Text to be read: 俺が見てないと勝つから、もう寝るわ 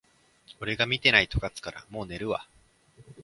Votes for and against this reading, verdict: 3, 0, accepted